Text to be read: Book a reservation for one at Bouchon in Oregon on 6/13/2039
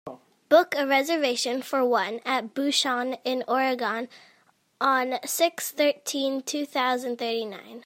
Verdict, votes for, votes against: rejected, 0, 2